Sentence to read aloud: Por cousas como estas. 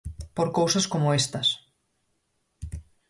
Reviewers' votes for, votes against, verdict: 4, 0, accepted